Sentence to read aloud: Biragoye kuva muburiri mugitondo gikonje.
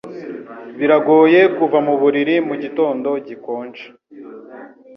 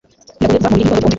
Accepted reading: first